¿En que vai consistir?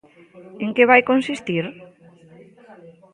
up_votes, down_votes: 2, 0